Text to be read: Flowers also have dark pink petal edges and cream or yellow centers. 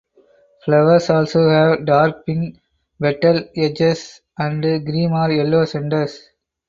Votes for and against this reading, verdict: 0, 4, rejected